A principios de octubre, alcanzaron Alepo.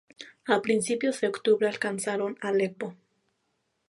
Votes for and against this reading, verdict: 2, 0, accepted